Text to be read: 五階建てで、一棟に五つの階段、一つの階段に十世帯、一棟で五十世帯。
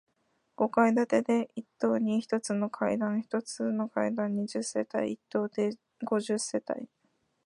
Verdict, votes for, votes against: accepted, 2, 0